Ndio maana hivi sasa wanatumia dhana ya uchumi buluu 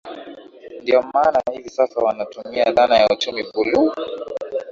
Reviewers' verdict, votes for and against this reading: accepted, 2, 0